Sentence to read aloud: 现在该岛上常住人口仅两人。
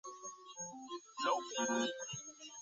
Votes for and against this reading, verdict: 1, 2, rejected